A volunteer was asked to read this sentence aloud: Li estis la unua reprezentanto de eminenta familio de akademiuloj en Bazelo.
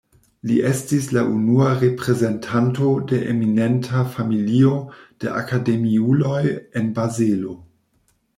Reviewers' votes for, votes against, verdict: 2, 0, accepted